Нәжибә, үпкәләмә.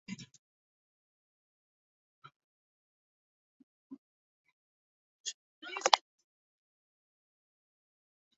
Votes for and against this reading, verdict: 0, 2, rejected